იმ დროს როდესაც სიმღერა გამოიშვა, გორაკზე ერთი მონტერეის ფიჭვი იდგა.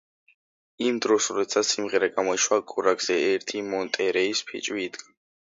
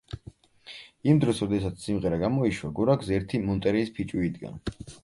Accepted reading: second